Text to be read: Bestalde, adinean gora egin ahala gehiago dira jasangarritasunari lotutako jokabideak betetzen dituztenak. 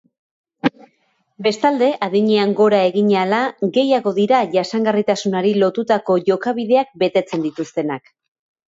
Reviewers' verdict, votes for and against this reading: accepted, 2, 0